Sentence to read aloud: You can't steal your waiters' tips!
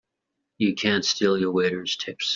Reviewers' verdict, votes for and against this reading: accepted, 2, 0